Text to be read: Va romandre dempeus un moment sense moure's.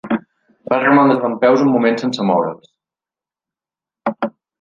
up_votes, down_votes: 2, 0